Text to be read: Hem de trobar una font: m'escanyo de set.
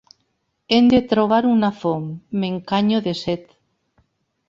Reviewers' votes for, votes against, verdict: 0, 2, rejected